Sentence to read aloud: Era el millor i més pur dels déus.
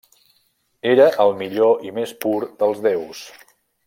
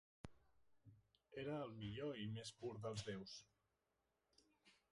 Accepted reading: first